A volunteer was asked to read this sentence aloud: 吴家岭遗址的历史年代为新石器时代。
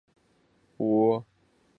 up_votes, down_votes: 0, 2